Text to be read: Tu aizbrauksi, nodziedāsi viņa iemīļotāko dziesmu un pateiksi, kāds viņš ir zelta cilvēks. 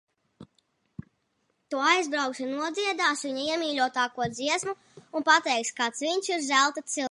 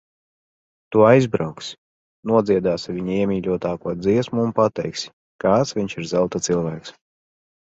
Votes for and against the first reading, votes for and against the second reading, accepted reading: 1, 2, 2, 0, second